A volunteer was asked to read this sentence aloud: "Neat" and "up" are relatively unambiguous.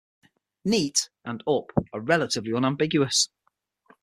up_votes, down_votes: 6, 0